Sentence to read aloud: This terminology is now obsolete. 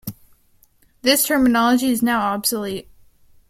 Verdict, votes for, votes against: rejected, 1, 2